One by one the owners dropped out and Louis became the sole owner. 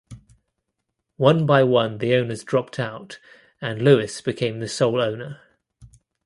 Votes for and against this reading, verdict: 2, 0, accepted